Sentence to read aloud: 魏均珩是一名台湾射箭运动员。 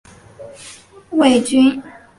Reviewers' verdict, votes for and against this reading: rejected, 0, 2